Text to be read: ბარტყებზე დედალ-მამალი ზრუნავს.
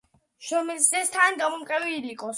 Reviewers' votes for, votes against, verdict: 1, 2, rejected